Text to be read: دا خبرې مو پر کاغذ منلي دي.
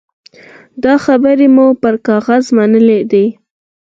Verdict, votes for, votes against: accepted, 4, 2